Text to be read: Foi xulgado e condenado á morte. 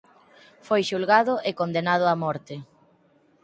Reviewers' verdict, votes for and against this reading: accepted, 4, 2